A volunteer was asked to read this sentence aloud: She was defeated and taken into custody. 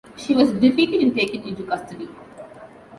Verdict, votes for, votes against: accepted, 2, 0